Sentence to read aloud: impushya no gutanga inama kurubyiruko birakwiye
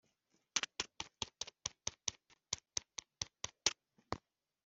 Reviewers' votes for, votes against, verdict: 0, 2, rejected